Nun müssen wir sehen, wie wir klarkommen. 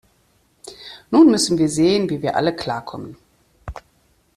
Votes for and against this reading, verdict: 0, 2, rejected